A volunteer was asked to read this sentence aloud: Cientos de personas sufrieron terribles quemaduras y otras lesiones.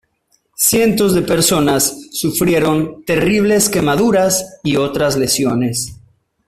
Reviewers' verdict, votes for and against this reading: accepted, 2, 0